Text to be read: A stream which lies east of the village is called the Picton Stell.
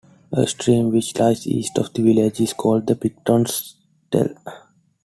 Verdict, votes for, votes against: accepted, 2, 0